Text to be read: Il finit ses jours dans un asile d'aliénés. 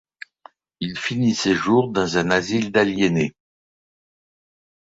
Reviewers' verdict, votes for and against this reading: accepted, 2, 0